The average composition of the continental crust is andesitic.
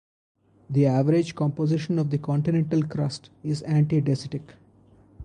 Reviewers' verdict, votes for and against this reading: rejected, 2, 4